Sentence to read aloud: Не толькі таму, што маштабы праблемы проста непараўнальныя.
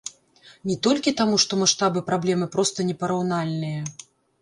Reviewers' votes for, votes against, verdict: 2, 0, accepted